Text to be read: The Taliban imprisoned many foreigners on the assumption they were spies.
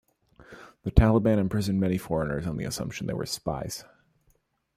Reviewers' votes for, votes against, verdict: 2, 0, accepted